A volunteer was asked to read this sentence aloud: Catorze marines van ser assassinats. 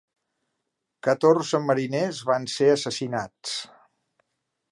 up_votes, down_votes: 1, 2